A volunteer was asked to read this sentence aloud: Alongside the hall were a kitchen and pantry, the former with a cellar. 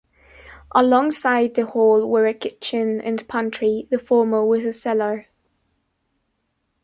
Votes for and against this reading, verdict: 2, 0, accepted